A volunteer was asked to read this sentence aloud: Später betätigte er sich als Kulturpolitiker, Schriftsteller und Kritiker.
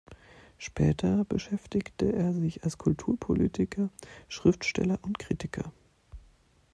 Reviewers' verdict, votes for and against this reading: rejected, 1, 2